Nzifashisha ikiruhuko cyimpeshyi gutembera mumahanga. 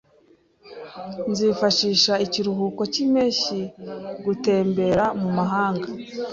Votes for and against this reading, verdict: 2, 0, accepted